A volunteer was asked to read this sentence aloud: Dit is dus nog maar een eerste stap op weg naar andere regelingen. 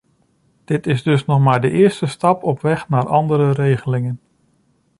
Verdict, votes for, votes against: rejected, 1, 2